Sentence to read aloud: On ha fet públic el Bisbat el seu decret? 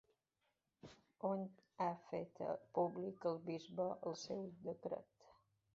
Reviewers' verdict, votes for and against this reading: rejected, 0, 2